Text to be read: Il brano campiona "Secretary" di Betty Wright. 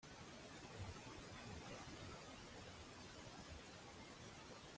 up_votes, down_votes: 0, 2